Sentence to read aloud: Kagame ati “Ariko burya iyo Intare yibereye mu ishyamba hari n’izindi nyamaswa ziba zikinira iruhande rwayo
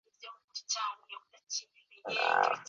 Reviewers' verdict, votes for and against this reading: rejected, 0, 2